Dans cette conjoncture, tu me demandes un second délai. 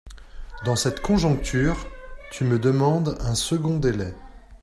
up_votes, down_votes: 2, 0